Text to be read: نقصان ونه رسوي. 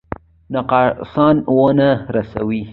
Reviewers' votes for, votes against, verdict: 2, 0, accepted